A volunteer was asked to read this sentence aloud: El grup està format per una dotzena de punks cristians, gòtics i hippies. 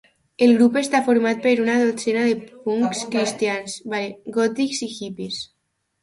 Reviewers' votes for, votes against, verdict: 0, 2, rejected